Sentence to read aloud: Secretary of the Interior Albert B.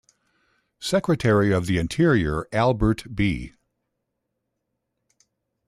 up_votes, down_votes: 2, 0